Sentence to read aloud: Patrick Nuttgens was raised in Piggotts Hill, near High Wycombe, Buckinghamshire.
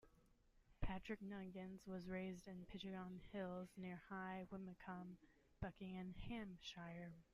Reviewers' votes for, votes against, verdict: 0, 2, rejected